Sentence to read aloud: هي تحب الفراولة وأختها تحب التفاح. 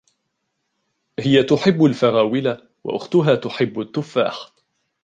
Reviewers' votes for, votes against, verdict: 1, 2, rejected